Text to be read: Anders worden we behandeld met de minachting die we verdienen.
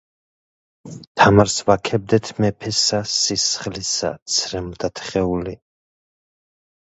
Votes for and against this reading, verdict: 0, 2, rejected